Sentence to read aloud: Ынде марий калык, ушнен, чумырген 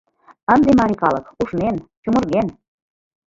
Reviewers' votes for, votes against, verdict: 1, 2, rejected